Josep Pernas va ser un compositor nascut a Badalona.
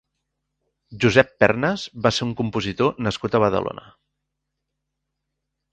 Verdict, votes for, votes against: accepted, 3, 0